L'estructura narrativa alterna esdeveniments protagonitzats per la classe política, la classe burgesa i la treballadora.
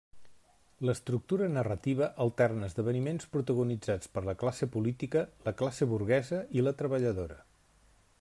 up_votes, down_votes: 1, 2